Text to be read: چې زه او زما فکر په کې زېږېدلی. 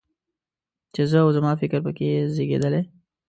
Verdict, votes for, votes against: accepted, 2, 0